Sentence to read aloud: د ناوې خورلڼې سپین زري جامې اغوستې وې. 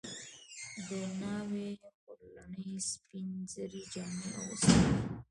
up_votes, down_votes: 1, 2